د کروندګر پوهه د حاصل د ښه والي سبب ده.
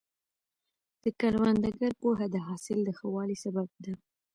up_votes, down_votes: 2, 0